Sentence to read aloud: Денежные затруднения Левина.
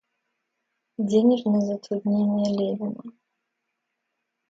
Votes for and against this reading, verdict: 1, 2, rejected